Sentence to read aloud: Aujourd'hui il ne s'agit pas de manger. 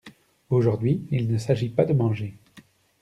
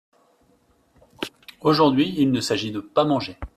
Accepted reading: first